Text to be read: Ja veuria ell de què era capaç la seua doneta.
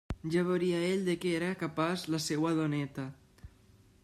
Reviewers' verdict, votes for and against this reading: accepted, 2, 0